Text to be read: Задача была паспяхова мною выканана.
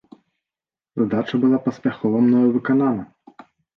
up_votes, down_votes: 0, 2